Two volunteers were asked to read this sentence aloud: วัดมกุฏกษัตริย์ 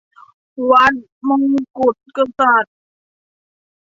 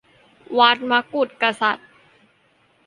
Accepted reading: second